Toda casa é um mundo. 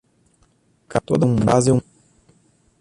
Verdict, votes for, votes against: rejected, 0, 2